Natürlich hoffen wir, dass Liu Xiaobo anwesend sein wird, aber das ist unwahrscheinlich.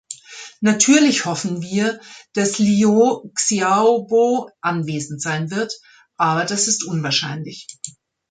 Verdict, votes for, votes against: accepted, 2, 1